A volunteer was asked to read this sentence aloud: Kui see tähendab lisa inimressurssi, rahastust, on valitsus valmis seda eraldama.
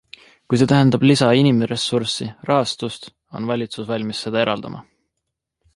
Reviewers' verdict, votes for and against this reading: accepted, 2, 0